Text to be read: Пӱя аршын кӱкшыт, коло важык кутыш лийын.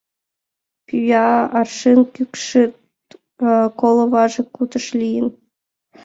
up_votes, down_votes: 2, 0